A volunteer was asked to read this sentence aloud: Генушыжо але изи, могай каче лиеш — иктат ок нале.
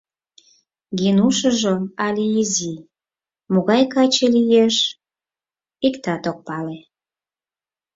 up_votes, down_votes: 2, 4